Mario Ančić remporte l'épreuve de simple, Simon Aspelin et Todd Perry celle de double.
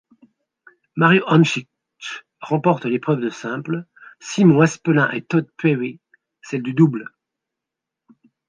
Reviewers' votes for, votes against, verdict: 0, 2, rejected